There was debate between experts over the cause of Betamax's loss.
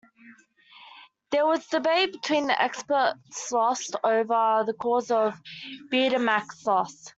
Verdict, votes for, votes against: rejected, 0, 2